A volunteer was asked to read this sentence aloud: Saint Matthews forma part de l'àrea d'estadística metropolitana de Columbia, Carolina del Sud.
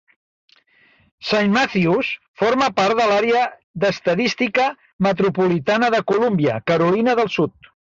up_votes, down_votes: 2, 0